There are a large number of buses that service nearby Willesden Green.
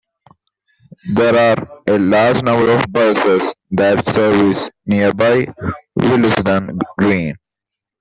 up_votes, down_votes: 2, 1